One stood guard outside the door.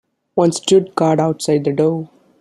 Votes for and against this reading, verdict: 2, 0, accepted